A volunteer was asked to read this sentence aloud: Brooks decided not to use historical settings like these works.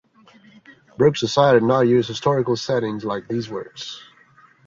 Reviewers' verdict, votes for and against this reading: accepted, 2, 0